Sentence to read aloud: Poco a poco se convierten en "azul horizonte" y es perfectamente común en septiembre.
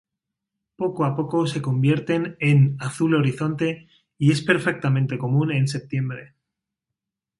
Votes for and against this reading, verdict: 0, 2, rejected